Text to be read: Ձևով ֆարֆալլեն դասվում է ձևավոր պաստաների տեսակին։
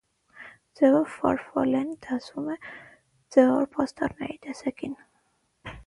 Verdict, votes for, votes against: rejected, 0, 9